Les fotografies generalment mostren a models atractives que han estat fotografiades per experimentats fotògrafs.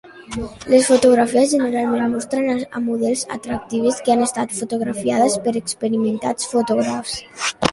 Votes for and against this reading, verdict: 0, 2, rejected